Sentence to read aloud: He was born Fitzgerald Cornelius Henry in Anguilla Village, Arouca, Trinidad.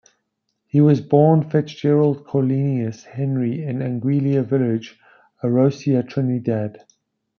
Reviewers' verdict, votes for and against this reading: rejected, 1, 2